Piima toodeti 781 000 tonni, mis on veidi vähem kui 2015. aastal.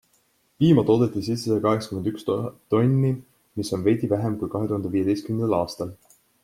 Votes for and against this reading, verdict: 0, 2, rejected